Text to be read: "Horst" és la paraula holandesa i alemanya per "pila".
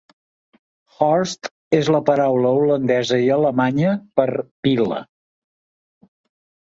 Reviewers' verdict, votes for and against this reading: accepted, 3, 0